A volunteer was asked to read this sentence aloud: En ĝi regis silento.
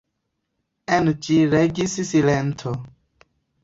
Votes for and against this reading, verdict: 2, 0, accepted